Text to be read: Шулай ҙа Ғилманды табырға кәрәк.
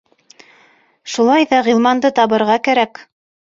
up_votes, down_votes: 3, 0